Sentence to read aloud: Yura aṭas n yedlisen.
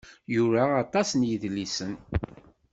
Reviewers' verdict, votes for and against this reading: accepted, 2, 0